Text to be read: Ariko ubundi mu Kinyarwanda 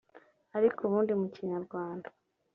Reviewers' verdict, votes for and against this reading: accepted, 3, 0